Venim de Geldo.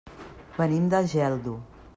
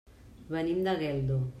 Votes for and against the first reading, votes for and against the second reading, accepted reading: 3, 0, 1, 2, first